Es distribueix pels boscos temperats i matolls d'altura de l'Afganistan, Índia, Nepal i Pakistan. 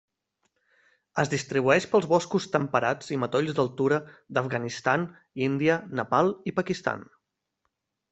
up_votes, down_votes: 1, 2